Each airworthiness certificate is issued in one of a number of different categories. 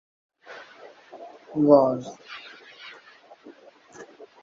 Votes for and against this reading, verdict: 0, 2, rejected